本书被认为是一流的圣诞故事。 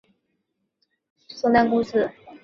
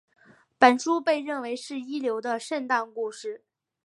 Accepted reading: second